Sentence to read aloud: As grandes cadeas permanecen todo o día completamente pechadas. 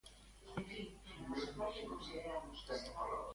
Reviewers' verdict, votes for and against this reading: rejected, 0, 2